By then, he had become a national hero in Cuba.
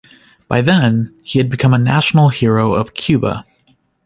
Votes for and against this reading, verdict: 2, 1, accepted